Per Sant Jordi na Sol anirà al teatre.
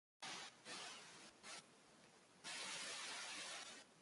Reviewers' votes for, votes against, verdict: 0, 2, rejected